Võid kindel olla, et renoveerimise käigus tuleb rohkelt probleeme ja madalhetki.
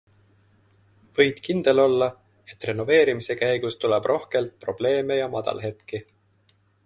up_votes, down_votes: 2, 0